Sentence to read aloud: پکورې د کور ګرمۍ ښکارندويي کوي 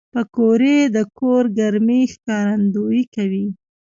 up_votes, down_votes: 2, 0